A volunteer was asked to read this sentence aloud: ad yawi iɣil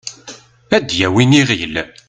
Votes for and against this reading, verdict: 0, 2, rejected